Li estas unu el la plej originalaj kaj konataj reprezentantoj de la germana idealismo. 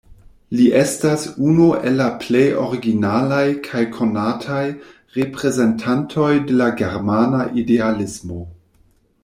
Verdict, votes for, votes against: accepted, 2, 0